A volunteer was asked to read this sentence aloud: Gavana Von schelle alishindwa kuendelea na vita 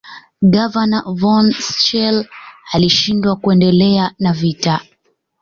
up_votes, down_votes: 2, 0